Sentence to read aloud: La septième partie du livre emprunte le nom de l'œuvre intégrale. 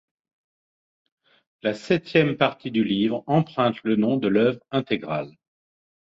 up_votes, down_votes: 2, 0